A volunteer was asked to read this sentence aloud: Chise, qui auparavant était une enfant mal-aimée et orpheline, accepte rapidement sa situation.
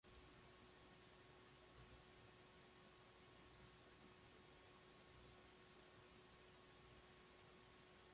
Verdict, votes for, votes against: rejected, 0, 2